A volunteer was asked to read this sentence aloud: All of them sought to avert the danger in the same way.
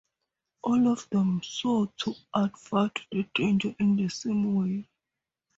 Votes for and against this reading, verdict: 0, 2, rejected